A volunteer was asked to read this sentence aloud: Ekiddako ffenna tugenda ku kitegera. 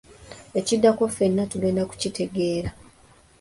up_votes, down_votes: 2, 0